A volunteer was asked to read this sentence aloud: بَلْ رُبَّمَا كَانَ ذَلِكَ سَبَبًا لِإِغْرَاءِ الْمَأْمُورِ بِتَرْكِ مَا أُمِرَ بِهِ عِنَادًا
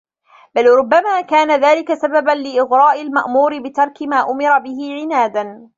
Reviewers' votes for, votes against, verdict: 0, 2, rejected